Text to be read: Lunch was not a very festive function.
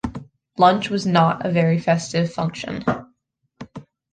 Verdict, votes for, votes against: accepted, 2, 0